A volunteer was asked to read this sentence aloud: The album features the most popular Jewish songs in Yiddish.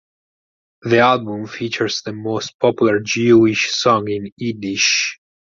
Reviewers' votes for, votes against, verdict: 2, 4, rejected